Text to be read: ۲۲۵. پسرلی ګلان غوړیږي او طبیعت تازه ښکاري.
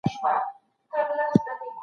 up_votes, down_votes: 0, 2